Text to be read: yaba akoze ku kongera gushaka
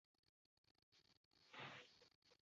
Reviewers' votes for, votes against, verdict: 0, 2, rejected